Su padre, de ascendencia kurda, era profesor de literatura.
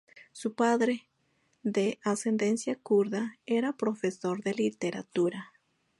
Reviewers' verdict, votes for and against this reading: accepted, 4, 0